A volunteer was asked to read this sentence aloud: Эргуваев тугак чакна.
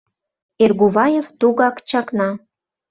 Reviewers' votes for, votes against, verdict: 2, 0, accepted